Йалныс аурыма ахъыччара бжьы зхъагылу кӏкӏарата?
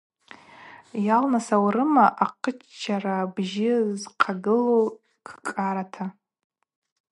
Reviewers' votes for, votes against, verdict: 2, 0, accepted